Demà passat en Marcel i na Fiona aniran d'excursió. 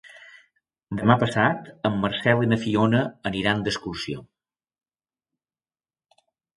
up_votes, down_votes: 2, 0